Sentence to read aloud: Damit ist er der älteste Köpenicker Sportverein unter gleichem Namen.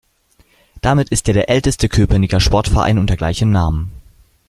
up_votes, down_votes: 2, 0